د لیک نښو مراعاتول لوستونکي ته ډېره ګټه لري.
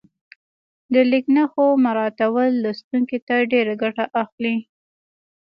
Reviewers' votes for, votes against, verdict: 0, 2, rejected